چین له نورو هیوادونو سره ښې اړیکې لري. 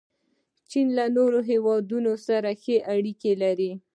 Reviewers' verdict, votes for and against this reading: rejected, 0, 2